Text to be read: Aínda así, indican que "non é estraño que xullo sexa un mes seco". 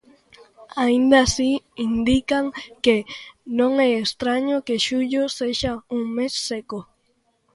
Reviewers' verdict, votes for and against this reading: accepted, 2, 0